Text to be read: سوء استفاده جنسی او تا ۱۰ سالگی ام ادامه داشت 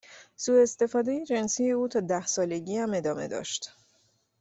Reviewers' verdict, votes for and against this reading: rejected, 0, 2